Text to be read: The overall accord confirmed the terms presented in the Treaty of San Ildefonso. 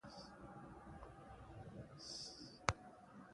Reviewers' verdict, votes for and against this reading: rejected, 0, 2